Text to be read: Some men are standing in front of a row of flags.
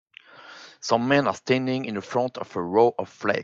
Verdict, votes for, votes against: rejected, 5, 5